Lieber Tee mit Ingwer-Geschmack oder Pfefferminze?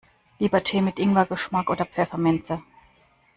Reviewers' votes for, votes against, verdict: 2, 0, accepted